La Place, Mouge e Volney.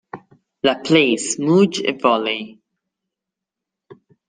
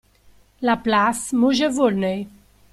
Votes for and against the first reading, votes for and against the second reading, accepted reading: 1, 2, 2, 0, second